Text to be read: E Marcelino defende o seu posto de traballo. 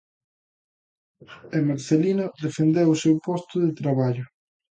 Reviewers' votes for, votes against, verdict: 0, 2, rejected